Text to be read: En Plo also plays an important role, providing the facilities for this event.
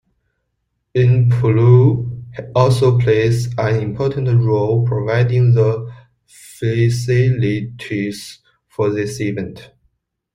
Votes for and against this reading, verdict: 0, 2, rejected